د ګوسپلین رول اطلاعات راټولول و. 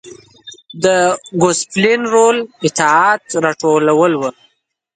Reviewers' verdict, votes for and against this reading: rejected, 0, 2